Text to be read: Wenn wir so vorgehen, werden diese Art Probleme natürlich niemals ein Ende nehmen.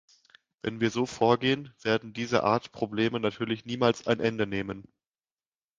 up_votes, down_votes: 2, 0